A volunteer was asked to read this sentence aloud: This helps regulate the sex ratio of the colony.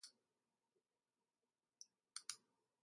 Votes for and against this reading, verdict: 0, 2, rejected